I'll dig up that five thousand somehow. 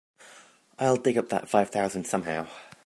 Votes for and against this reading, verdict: 3, 0, accepted